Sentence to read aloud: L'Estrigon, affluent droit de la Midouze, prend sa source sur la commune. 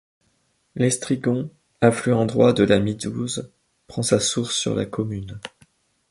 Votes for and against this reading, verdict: 2, 0, accepted